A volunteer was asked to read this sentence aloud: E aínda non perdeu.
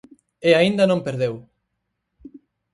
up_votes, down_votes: 4, 0